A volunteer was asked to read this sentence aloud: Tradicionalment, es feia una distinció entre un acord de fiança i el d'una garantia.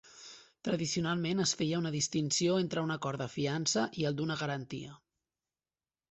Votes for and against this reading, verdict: 3, 0, accepted